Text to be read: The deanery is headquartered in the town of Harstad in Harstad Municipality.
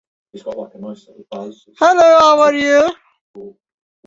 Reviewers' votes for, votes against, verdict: 0, 2, rejected